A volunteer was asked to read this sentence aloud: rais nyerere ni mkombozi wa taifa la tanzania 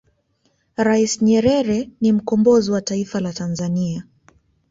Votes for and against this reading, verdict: 3, 0, accepted